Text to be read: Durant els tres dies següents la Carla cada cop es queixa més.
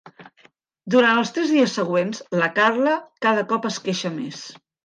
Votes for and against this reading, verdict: 3, 0, accepted